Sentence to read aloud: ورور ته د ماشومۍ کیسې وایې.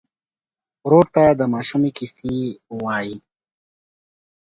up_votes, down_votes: 2, 1